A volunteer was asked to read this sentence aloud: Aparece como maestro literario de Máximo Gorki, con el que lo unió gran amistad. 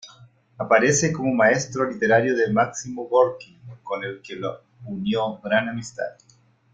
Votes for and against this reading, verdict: 2, 0, accepted